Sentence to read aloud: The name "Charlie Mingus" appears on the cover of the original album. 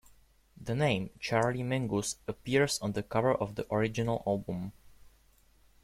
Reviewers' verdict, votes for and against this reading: accepted, 2, 1